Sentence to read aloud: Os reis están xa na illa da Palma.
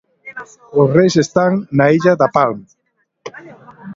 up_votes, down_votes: 1, 2